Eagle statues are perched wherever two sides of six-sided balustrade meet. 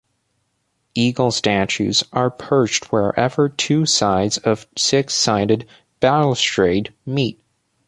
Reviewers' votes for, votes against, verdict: 2, 0, accepted